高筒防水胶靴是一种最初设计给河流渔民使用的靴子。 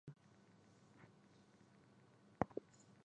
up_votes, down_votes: 0, 2